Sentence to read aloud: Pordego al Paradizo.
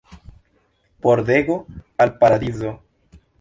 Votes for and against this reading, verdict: 1, 2, rejected